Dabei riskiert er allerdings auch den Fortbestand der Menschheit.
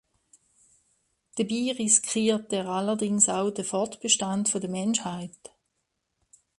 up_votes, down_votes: 2, 1